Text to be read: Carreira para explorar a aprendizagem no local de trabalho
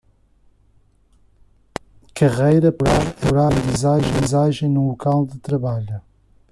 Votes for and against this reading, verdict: 1, 2, rejected